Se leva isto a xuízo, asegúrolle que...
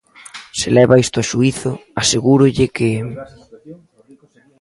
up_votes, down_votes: 1, 2